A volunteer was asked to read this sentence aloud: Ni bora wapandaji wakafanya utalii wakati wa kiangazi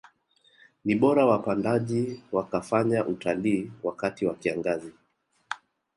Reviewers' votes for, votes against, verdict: 3, 0, accepted